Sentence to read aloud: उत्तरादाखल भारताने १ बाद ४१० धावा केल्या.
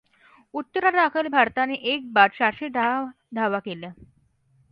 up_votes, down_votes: 0, 2